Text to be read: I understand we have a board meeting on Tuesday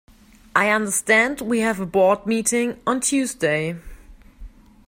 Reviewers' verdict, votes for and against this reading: accepted, 2, 0